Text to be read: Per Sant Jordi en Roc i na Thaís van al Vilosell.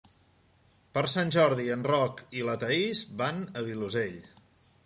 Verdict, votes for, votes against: rejected, 0, 2